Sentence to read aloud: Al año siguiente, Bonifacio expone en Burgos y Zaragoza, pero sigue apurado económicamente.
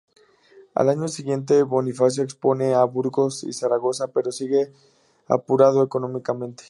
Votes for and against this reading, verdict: 2, 0, accepted